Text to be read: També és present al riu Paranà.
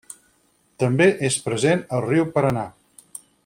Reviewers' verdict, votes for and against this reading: accepted, 6, 0